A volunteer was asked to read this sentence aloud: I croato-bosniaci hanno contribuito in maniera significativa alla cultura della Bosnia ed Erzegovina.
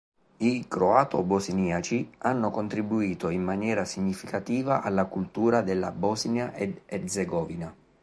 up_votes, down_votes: 2, 0